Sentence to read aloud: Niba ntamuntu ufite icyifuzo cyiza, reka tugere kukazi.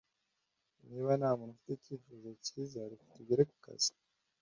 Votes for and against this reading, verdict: 2, 0, accepted